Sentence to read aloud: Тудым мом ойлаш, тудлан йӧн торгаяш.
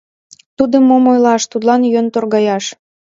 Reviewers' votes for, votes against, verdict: 2, 0, accepted